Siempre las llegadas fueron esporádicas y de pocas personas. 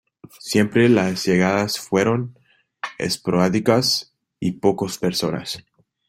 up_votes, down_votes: 0, 2